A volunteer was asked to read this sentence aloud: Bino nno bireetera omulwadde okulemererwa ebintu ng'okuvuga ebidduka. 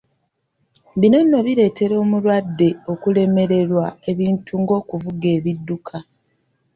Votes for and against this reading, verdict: 2, 0, accepted